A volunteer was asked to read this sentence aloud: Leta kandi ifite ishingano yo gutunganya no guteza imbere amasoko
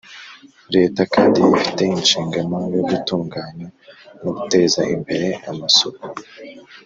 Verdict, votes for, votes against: accepted, 2, 0